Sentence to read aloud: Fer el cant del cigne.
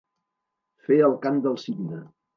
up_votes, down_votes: 2, 0